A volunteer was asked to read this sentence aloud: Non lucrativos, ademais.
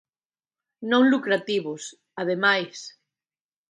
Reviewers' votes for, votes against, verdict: 2, 0, accepted